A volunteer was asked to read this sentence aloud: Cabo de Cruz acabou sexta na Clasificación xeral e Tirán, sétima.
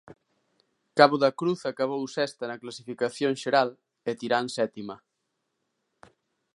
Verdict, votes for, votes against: rejected, 0, 2